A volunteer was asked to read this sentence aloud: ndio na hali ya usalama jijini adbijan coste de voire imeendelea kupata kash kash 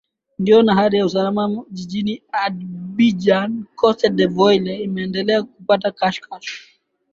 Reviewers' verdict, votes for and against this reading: rejected, 1, 2